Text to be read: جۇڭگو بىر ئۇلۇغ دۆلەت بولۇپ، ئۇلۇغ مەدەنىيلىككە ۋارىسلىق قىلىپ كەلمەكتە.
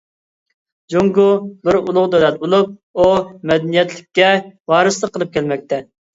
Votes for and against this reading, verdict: 0, 2, rejected